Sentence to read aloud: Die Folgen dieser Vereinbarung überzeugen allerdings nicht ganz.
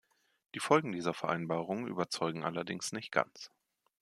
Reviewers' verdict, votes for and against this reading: accepted, 2, 0